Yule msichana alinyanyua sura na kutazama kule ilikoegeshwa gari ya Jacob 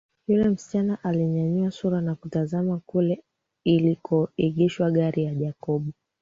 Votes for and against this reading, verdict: 2, 0, accepted